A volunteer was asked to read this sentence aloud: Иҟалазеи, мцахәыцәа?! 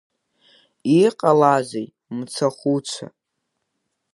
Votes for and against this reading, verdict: 2, 0, accepted